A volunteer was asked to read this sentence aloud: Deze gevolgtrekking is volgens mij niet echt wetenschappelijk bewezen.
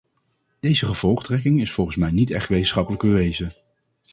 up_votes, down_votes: 0, 2